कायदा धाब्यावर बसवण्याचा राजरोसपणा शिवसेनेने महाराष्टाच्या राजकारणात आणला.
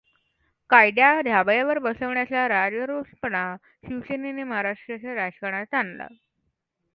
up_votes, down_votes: 1, 2